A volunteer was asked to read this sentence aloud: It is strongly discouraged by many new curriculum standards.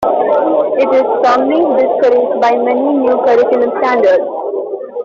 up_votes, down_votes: 0, 2